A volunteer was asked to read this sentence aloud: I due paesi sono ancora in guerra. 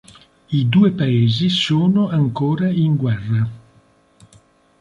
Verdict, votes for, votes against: accepted, 3, 0